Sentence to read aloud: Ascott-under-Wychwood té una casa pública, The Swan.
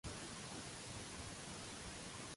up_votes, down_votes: 0, 2